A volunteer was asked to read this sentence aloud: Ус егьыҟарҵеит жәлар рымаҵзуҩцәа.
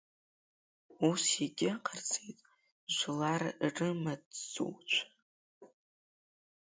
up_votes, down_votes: 2, 1